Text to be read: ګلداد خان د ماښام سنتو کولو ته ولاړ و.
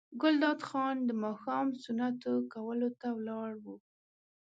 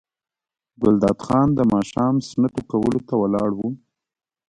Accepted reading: first